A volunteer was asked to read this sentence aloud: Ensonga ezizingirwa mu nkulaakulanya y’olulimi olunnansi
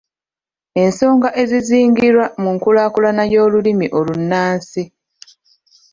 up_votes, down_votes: 1, 2